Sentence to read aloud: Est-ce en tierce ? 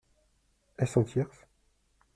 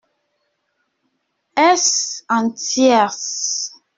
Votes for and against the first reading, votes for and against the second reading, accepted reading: 1, 2, 2, 0, second